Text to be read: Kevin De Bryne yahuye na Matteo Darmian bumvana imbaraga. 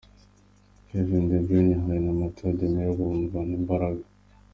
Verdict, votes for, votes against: accepted, 2, 0